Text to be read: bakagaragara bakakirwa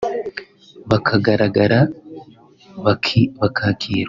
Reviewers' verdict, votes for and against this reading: rejected, 0, 2